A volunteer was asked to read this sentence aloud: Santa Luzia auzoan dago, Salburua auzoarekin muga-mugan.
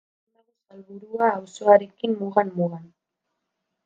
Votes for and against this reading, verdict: 0, 2, rejected